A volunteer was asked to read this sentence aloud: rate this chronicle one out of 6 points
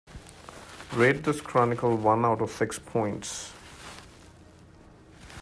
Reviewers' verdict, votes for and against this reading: rejected, 0, 2